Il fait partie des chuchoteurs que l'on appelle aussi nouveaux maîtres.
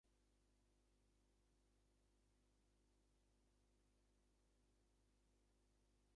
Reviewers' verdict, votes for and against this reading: rejected, 0, 2